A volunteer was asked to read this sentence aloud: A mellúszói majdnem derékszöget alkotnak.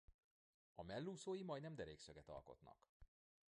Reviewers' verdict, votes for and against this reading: rejected, 0, 2